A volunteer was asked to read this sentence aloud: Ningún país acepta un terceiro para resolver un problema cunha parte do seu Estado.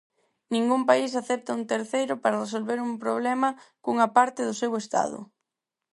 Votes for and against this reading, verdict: 4, 0, accepted